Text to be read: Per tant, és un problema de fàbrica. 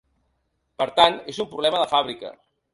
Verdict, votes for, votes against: accepted, 3, 0